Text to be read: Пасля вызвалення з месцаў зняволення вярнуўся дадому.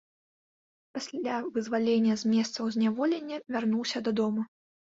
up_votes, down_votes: 2, 0